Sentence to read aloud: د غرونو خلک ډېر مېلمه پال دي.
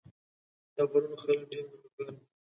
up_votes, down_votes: 0, 2